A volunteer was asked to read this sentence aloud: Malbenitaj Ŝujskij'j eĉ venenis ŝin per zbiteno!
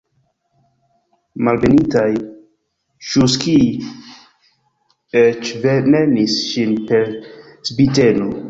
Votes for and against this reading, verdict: 2, 1, accepted